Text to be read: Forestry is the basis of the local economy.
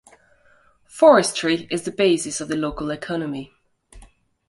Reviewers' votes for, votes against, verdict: 2, 1, accepted